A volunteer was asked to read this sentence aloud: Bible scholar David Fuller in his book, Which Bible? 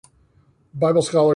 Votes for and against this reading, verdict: 0, 2, rejected